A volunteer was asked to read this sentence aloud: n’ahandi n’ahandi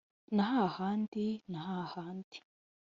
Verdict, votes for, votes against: rejected, 1, 2